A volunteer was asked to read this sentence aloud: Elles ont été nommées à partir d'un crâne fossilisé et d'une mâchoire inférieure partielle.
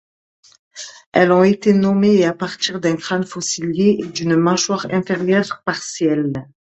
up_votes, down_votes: 2, 1